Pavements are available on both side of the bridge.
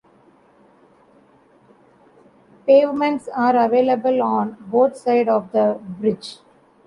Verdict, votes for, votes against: rejected, 1, 2